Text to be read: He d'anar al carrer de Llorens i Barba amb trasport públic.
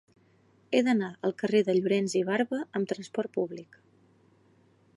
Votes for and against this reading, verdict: 9, 0, accepted